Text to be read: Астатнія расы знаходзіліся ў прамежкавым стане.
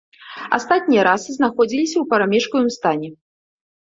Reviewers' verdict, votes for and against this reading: rejected, 1, 2